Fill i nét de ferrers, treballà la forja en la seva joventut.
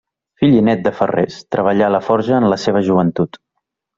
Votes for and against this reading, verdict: 2, 0, accepted